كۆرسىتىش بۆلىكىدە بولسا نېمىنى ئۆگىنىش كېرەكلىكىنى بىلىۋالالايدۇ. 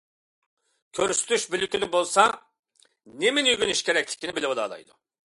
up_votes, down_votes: 2, 0